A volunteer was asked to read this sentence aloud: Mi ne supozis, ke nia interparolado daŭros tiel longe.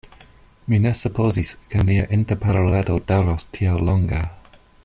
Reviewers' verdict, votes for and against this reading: rejected, 1, 2